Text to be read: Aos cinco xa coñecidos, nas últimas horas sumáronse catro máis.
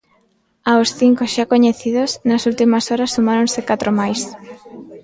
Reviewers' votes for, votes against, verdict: 1, 2, rejected